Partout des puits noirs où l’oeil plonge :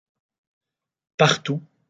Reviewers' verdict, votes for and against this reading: rejected, 0, 2